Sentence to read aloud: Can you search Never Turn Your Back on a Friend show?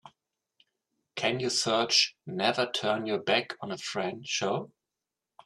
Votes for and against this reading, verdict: 2, 1, accepted